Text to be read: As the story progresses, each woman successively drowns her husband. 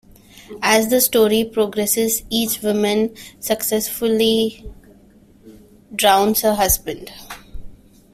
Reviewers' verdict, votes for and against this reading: accepted, 2, 0